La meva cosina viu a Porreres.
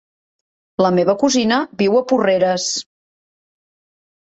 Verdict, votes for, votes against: rejected, 1, 2